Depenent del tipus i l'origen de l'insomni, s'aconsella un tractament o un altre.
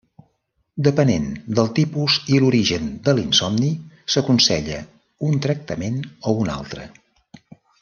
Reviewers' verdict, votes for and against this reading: accepted, 4, 0